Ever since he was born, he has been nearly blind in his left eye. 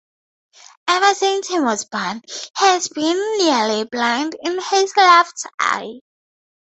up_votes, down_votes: 0, 2